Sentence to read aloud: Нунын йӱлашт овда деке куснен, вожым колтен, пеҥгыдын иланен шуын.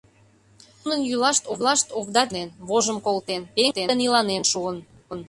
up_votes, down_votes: 0, 2